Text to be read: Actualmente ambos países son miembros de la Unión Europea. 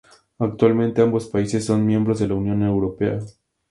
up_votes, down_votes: 2, 0